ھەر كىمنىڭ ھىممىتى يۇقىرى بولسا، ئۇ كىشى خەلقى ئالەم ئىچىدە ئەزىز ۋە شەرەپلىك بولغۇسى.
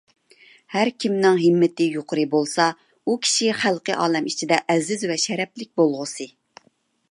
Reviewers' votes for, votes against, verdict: 2, 0, accepted